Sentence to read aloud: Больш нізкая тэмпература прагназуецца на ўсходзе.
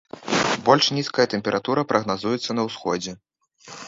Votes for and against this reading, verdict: 1, 2, rejected